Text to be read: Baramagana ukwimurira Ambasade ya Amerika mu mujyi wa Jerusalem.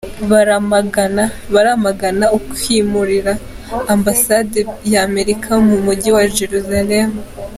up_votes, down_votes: 1, 2